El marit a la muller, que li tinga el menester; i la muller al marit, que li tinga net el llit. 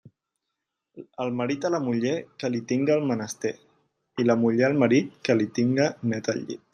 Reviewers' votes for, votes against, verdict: 3, 1, accepted